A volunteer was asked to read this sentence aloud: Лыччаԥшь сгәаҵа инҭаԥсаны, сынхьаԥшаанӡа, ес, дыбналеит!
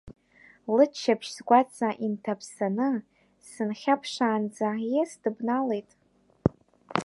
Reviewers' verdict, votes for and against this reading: rejected, 1, 2